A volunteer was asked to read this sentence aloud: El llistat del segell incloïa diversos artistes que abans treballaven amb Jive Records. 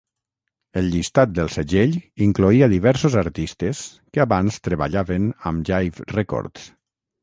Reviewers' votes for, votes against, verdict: 3, 3, rejected